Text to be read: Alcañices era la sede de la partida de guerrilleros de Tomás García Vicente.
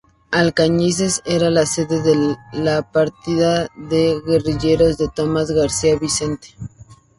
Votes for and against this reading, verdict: 0, 2, rejected